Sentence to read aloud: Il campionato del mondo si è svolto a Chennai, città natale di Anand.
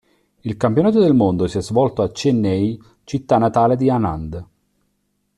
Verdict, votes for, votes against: accepted, 2, 0